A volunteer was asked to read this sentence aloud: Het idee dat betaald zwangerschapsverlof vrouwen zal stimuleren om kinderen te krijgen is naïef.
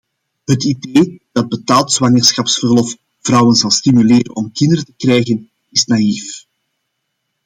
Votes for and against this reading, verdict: 2, 0, accepted